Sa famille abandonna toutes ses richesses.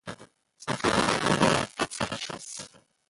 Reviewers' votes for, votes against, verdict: 1, 2, rejected